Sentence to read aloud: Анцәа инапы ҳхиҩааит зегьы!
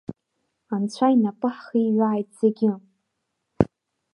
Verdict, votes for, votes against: accepted, 2, 0